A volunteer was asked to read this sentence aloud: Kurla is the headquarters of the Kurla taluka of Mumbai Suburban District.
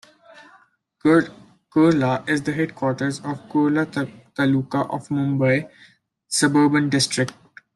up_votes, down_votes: 0, 2